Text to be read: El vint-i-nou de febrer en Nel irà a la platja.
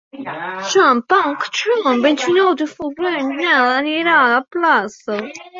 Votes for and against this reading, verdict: 0, 2, rejected